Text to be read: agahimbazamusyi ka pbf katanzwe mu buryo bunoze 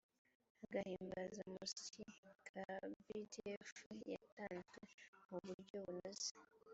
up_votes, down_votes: 1, 2